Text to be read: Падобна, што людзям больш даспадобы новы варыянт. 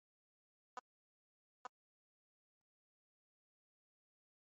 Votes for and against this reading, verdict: 0, 2, rejected